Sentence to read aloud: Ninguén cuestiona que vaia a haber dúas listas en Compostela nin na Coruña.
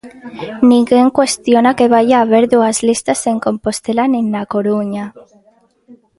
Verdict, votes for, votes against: accepted, 2, 0